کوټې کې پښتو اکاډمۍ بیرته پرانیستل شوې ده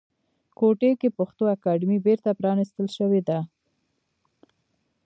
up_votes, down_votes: 2, 1